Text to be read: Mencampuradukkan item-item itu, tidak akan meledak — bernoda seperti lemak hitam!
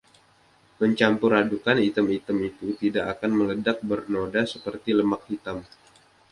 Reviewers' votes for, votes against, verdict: 2, 0, accepted